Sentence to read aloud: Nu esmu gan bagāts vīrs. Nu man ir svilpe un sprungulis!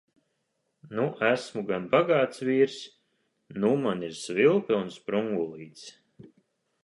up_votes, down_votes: 0, 3